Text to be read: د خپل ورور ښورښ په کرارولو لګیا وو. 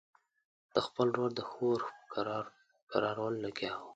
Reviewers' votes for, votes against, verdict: 0, 2, rejected